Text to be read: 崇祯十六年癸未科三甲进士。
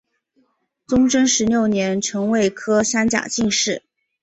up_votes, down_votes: 1, 5